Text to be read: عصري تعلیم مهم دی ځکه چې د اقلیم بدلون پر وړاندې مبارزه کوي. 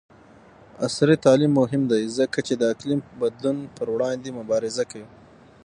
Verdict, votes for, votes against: accepted, 6, 0